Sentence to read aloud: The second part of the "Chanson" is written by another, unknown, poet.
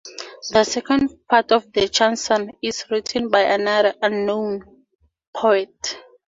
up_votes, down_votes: 2, 0